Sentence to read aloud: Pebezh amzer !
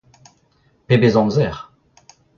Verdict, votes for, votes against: rejected, 0, 2